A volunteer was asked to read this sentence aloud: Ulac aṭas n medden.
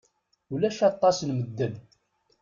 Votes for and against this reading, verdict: 2, 0, accepted